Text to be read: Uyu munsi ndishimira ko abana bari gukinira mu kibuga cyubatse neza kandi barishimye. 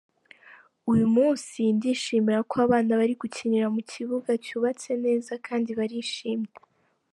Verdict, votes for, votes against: accepted, 2, 0